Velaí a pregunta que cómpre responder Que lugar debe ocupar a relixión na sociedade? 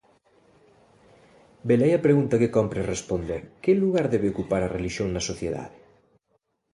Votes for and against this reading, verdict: 2, 0, accepted